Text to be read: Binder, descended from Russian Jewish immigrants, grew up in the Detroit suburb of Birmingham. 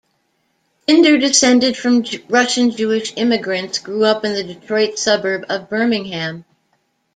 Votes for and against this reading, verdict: 1, 2, rejected